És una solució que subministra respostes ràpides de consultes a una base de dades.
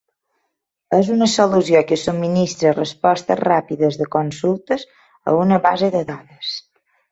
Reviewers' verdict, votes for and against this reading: accepted, 3, 0